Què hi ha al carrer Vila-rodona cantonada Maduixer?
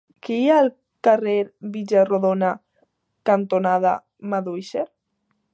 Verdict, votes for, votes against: rejected, 0, 2